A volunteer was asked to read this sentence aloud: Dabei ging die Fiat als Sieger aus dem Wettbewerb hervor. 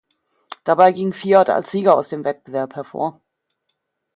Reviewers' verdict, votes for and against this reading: rejected, 0, 2